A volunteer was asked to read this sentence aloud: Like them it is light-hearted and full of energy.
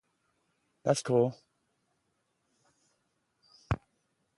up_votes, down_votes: 0, 2